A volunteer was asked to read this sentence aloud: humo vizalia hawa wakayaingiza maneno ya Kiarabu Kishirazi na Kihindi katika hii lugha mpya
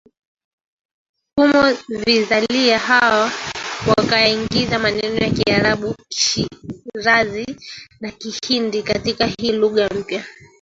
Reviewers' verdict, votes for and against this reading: rejected, 1, 2